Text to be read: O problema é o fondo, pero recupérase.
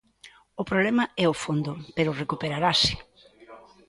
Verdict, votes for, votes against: rejected, 0, 2